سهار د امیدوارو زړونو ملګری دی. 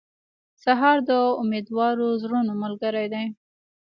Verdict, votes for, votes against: accepted, 2, 1